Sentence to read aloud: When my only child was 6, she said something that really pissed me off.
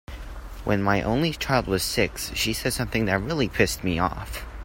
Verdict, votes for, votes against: rejected, 0, 2